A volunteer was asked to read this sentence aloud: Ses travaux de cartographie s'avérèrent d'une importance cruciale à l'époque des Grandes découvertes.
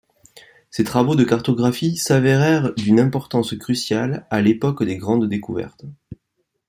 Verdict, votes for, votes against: accepted, 2, 0